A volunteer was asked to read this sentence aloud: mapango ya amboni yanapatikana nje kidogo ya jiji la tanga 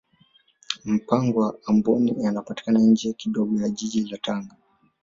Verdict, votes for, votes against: accepted, 2, 1